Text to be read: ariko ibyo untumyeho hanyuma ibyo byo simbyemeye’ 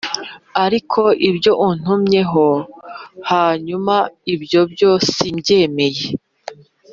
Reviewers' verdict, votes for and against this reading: accepted, 2, 0